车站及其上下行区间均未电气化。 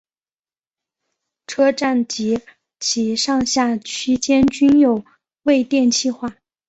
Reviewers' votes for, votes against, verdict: 1, 2, rejected